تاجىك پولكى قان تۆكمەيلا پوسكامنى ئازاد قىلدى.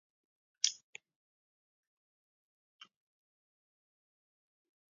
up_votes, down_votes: 0, 2